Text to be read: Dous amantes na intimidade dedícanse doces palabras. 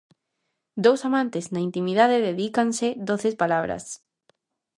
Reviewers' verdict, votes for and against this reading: rejected, 0, 2